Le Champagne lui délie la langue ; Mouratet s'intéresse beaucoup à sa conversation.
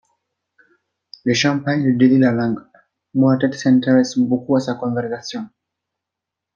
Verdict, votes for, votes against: rejected, 1, 2